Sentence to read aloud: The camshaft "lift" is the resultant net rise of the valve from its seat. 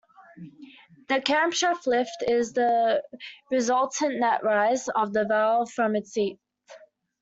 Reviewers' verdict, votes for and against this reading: accepted, 2, 0